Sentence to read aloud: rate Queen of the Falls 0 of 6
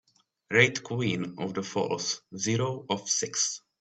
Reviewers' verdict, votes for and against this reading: rejected, 0, 2